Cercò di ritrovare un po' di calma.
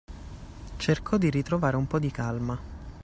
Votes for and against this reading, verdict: 2, 0, accepted